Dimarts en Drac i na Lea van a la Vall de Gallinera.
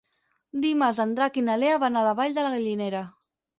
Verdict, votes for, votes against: rejected, 0, 4